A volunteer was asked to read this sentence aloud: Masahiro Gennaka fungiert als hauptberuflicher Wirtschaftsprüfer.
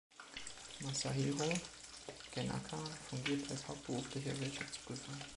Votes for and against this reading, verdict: 0, 2, rejected